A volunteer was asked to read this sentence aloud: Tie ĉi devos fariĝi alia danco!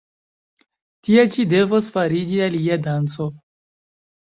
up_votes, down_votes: 2, 1